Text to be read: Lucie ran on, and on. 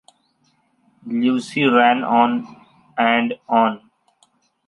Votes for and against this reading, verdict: 2, 0, accepted